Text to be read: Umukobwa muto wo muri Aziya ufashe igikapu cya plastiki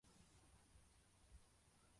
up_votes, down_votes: 0, 2